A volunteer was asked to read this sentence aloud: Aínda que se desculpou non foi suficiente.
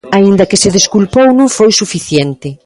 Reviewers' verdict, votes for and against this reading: accepted, 2, 0